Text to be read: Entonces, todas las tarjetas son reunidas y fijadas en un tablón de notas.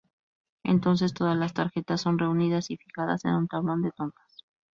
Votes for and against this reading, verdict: 2, 4, rejected